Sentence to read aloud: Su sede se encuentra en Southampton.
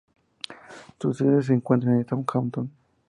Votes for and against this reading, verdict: 2, 0, accepted